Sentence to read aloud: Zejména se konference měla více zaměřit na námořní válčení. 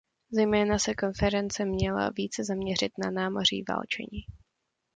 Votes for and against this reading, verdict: 1, 2, rejected